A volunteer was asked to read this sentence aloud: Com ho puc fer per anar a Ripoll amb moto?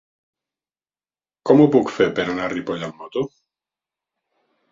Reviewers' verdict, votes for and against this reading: accepted, 5, 0